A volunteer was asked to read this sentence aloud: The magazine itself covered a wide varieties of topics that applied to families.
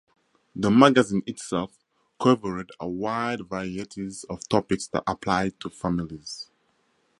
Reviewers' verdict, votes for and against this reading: accepted, 4, 0